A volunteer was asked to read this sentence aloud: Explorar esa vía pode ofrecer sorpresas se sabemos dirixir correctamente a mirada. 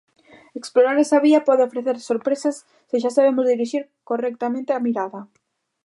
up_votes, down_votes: 0, 2